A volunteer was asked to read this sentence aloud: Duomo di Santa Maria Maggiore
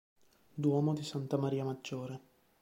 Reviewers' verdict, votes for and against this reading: accepted, 2, 0